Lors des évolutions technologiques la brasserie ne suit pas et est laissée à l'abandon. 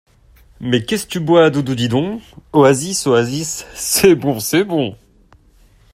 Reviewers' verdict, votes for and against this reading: rejected, 0, 2